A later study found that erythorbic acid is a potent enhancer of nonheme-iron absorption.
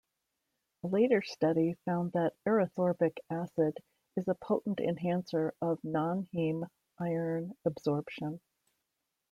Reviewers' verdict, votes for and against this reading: accepted, 2, 0